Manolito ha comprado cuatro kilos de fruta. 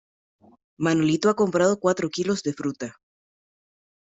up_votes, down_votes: 2, 0